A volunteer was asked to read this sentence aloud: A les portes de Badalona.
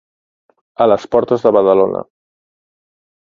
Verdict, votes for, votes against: accepted, 2, 0